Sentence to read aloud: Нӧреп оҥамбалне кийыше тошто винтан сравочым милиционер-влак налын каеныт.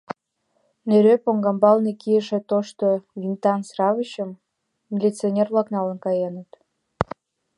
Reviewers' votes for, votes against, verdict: 2, 0, accepted